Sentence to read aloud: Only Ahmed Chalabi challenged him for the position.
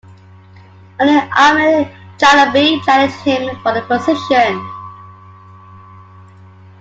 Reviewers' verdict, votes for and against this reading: rejected, 1, 2